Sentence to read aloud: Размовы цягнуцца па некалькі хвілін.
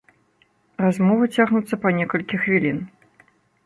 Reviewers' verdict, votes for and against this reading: accepted, 2, 0